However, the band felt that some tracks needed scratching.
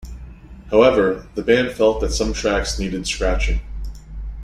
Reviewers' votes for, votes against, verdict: 2, 0, accepted